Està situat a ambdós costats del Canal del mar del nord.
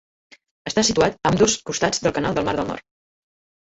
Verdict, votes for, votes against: rejected, 1, 2